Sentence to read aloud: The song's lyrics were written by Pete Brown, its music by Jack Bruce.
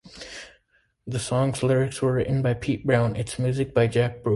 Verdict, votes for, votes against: rejected, 0, 2